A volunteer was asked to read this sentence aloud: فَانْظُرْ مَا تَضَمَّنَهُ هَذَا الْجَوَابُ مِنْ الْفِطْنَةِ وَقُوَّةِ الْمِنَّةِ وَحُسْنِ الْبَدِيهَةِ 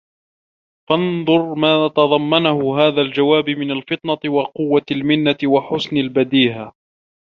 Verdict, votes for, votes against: rejected, 1, 2